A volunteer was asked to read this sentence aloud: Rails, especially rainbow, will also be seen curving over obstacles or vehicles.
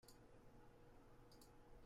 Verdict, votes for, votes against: rejected, 0, 2